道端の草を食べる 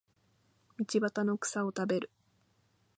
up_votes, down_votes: 2, 0